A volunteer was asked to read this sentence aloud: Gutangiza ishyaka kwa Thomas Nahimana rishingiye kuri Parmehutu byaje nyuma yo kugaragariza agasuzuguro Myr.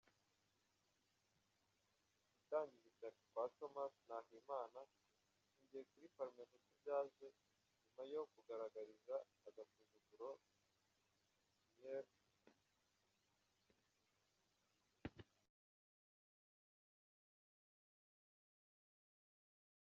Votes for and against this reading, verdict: 0, 2, rejected